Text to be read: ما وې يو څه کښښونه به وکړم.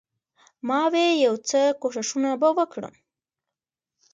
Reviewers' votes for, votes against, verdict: 0, 2, rejected